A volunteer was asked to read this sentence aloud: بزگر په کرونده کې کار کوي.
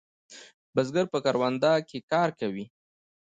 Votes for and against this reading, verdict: 1, 2, rejected